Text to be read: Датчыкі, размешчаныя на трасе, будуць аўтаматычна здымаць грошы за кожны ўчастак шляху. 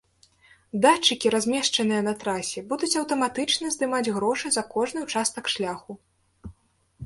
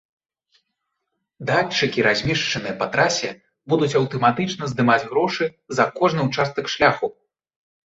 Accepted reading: first